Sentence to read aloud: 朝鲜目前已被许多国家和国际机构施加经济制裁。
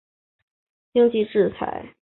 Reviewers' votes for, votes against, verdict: 3, 2, accepted